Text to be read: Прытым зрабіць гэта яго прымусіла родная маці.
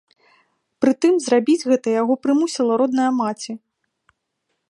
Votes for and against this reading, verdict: 2, 0, accepted